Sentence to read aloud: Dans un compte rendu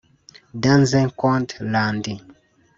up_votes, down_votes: 0, 2